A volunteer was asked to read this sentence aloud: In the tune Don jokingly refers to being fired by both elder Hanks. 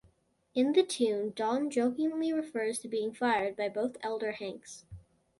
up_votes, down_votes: 2, 0